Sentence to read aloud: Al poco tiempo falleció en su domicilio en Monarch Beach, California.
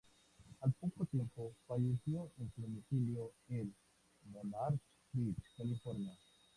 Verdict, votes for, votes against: accepted, 2, 0